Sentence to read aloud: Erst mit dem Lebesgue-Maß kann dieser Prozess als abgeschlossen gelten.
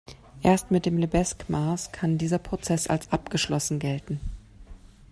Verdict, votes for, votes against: accepted, 2, 0